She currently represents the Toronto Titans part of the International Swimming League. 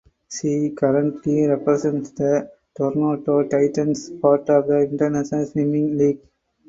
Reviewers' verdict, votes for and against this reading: rejected, 2, 4